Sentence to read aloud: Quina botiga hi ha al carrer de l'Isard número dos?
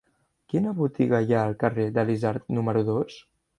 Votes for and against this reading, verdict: 3, 0, accepted